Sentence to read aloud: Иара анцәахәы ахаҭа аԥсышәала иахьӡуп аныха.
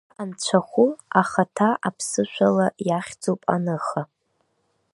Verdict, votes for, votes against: rejected, 1, 2